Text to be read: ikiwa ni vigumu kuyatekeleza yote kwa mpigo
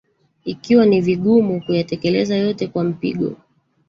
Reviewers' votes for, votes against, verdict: 1, 2, rejected